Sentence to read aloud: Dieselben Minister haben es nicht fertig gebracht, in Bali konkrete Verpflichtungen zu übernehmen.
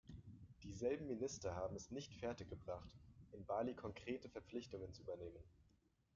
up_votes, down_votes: 0, 2